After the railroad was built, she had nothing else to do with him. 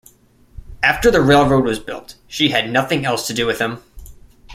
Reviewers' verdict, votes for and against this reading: accepted, 2, 0